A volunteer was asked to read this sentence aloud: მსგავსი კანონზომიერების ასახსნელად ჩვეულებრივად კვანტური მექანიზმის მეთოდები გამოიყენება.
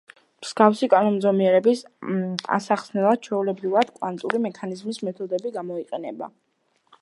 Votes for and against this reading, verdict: 2, 0, accepted